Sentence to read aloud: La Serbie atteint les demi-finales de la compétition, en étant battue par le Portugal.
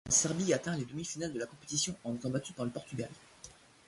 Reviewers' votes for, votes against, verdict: 0, 2, rejected